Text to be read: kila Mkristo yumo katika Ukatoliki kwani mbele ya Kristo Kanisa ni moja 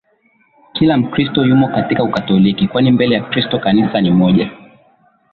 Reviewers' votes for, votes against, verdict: 3, 0, accepted